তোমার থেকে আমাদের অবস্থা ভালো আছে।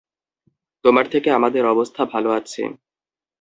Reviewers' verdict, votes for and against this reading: accepted, 2, 0